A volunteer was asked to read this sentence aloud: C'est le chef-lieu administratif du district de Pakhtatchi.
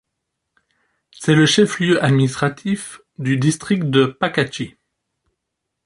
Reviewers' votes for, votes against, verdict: 0, 2, rejected